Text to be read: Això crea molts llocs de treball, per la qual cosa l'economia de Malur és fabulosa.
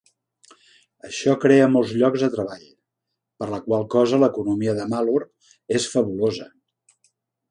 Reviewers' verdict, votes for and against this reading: accepted, 2, 0